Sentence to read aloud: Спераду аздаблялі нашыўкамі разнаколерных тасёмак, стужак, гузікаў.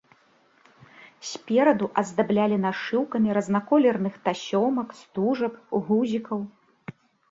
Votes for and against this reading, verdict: 0, 2, rejected